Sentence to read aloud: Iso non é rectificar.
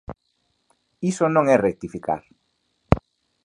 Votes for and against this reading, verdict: 2, 0, accepted